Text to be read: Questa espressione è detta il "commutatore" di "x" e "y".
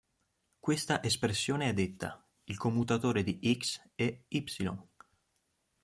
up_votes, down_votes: 3, 0